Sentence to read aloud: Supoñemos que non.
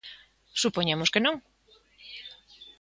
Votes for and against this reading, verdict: 2, 0, accepted